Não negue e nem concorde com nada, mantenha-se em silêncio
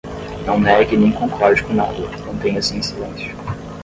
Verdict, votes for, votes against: accepted, 10, 0